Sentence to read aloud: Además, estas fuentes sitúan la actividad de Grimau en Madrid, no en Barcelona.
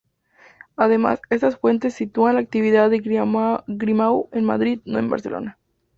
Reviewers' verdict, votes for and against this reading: rejected, 2, 4